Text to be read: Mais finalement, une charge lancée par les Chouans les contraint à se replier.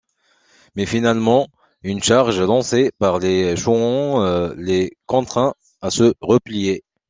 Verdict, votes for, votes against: rejected, 0, 2